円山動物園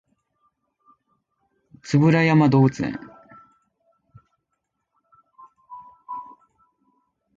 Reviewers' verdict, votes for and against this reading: rejected, 0, 3